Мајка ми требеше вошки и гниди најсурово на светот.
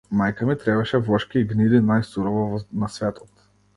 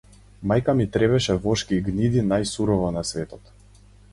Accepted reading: second